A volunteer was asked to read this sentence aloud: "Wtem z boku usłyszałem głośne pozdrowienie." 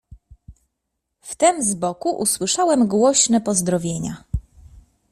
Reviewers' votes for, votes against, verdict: 1, 2, rejected